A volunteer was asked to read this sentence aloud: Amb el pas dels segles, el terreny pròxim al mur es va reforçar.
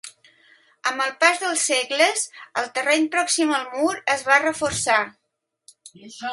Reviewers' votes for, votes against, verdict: 1, 3, rejected